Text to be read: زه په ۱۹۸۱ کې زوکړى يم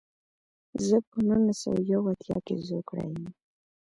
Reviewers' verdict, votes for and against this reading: rejected, 0, 2